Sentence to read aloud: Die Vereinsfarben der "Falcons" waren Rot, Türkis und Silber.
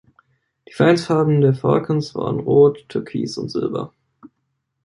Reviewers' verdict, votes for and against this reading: accepted, 2, 0